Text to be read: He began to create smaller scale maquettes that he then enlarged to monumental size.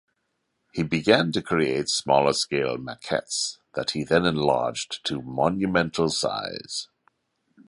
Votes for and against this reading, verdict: 2, 0, accepted